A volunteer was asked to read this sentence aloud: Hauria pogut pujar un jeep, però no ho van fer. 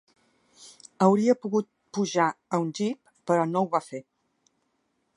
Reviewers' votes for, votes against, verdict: 0, 2, rejected